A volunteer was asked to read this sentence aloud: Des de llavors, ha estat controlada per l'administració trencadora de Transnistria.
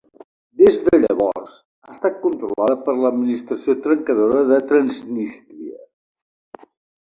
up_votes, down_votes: 0, 2